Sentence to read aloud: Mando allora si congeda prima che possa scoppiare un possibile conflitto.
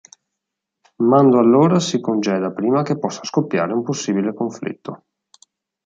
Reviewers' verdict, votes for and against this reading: accepted, 2, 0